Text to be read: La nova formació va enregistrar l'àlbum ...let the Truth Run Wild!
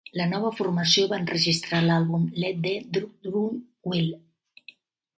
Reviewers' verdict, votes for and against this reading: rejected, 0, 2